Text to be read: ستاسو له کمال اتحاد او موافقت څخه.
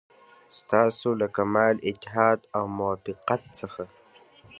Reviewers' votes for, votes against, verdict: 2, 1, accepted